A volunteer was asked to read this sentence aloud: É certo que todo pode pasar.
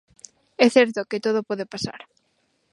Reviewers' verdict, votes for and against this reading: accepted, 2, 0